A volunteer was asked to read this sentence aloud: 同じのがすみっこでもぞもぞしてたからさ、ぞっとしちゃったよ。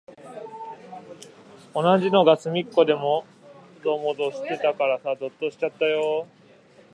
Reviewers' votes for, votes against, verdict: 0, 2, rejected